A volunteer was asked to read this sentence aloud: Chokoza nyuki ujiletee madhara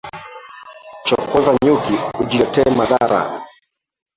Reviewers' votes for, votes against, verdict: 0, 2, rejected